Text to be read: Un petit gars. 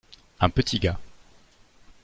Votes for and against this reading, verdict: 2, 0, accepted